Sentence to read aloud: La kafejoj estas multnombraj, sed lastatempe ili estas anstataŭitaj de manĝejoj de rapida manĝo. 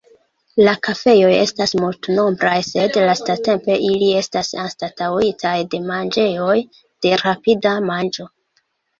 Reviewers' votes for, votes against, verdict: 1, 2, rejected